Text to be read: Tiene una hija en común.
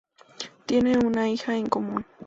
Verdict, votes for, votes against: accepted, 2, 0